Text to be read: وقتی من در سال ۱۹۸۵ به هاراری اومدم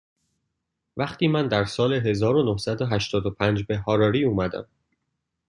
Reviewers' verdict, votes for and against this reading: rejected, 0, 2